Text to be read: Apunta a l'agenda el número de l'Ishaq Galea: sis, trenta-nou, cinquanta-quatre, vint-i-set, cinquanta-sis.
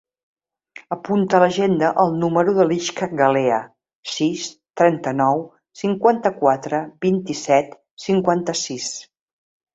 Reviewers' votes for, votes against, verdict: 0, 2, rejected